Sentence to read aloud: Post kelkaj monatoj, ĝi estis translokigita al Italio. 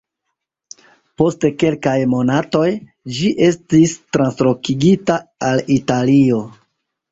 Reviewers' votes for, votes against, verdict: 0, 2, rejected